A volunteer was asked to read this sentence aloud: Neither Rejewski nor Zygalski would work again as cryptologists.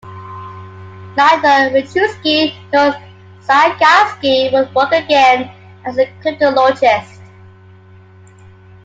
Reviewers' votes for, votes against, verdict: 2, 1, accepted